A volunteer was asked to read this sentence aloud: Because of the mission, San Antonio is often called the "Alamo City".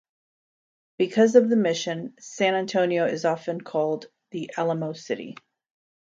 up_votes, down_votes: 2, 0